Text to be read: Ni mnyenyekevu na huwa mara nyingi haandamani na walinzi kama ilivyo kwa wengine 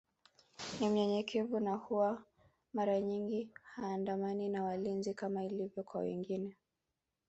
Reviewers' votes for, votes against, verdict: 2, 0, accepted